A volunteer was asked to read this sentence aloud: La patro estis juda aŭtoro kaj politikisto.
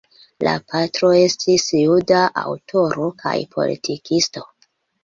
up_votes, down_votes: 2, 1